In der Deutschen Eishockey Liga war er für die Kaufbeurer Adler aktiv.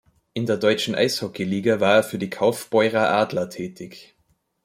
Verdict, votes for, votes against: rejected, 0, 2